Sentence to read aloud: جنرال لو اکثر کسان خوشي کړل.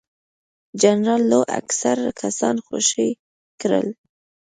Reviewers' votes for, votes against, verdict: 3, 0, accepted